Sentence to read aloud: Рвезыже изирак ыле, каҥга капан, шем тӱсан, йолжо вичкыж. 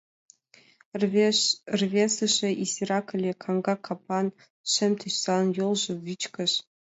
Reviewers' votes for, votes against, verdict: 1, 5, rejected